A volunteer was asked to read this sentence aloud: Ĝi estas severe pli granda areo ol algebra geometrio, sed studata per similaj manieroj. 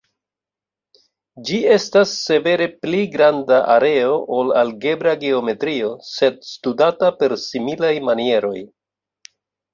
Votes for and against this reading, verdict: 2, 1, accepted